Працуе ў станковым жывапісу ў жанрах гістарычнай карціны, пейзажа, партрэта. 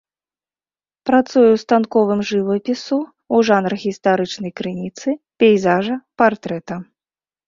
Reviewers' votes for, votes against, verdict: 1, 2, rejected